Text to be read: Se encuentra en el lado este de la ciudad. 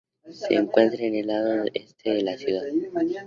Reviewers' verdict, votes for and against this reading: accepted, 2, 0